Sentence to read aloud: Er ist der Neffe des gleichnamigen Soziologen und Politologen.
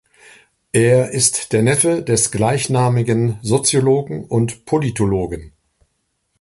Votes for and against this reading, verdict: 2, 0, accepted